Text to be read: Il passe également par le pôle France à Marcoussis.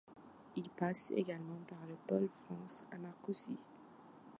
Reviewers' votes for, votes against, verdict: 2, 0, accepted